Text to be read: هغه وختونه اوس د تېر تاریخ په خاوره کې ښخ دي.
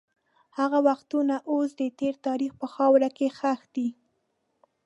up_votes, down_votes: 2, 0